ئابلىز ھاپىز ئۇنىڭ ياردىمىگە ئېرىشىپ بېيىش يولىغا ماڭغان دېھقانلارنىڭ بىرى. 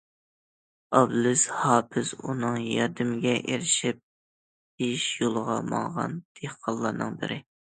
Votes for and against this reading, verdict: 2, 0, accepted